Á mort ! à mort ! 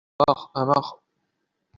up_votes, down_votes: 0, 2